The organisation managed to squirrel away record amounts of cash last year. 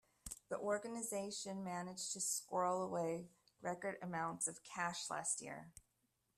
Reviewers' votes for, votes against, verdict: 2, 0, accepted